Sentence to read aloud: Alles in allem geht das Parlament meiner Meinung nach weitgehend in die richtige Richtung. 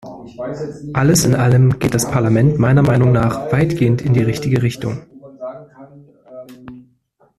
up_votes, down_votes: 0, 2